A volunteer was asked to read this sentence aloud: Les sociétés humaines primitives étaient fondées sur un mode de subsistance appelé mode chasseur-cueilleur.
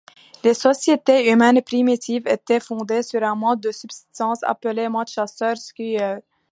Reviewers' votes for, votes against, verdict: 2, 0, accepted